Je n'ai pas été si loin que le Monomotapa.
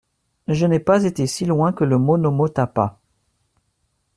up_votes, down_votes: 2, 0